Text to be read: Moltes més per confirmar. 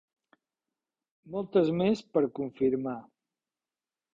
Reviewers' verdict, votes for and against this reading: accepted, 4, 1